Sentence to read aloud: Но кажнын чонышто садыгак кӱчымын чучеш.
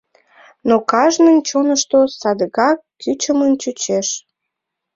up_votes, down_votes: 4, 0